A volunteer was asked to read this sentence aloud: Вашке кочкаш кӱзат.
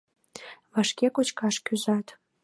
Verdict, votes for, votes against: accepted, 2, 0